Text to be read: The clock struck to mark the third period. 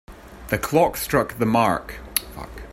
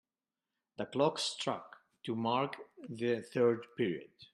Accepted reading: second